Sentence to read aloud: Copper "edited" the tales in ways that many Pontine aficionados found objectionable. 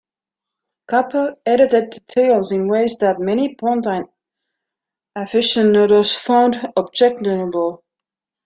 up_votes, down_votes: 1, 2